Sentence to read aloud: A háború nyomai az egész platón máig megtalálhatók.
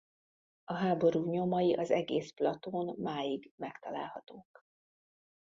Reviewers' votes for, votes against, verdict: 2, 0, accepted